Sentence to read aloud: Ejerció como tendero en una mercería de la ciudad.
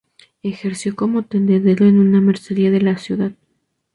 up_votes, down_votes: 2, 0